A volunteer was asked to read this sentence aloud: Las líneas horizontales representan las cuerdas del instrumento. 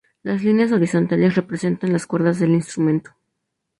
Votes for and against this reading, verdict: 0, 2, rejected